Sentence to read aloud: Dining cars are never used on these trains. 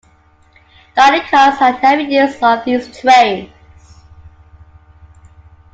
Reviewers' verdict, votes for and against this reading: rejected, 0, 2